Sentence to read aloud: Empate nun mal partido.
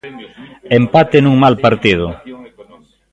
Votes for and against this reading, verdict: 0, 2, rejected